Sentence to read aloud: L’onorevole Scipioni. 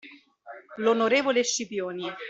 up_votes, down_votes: 2, 0